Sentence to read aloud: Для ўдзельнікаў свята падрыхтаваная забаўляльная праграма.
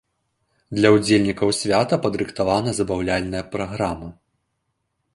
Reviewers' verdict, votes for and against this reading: rejected, 1, 2